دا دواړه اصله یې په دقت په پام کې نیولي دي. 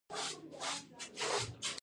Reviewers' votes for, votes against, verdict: 0, 2, rejected